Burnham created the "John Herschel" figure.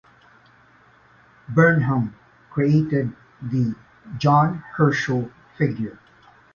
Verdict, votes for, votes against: accepted, 2, 0